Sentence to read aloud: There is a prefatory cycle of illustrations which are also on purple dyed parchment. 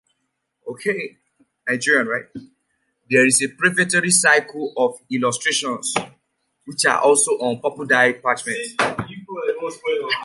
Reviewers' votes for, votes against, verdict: 0, 2, rejected